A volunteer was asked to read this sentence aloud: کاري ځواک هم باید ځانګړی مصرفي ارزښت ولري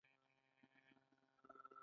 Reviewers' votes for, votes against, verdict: 2, 1, accepted